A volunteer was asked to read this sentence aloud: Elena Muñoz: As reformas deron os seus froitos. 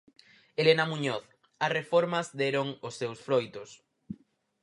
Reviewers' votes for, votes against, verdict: 4, 0, accepted